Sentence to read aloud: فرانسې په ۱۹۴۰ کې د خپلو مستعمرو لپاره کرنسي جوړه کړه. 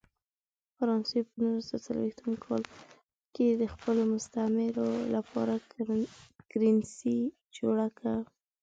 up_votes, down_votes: 0, 2